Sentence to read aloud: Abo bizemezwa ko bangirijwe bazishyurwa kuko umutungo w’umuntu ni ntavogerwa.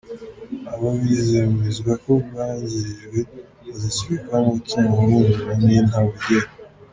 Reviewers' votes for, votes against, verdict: 1, 2, rejected